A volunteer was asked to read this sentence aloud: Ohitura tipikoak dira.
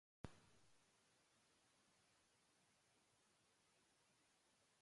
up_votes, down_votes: 0, 3